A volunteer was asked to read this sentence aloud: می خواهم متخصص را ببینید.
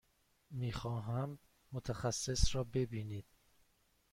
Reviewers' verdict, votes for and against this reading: accepted, 2, 0